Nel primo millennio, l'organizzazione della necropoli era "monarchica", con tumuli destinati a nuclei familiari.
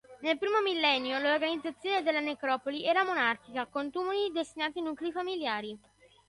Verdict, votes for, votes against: accepted, 2, 0